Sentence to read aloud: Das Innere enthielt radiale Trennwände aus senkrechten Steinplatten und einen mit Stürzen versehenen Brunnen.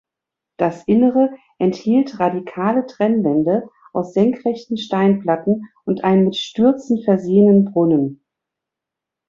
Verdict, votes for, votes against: rejected, 0, 2